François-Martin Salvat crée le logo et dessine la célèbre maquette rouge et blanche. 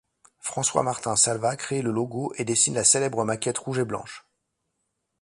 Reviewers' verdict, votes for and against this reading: accepted, 2, 0